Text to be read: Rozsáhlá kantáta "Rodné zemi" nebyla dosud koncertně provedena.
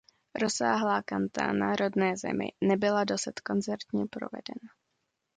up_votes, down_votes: 0, 2